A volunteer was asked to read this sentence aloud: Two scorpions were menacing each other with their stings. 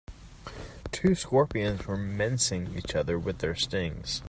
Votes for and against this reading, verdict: 1, 2, rejected